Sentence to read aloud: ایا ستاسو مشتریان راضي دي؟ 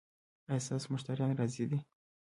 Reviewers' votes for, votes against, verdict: 1, 2, rejected